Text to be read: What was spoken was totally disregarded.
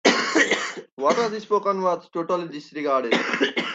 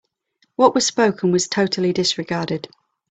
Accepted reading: second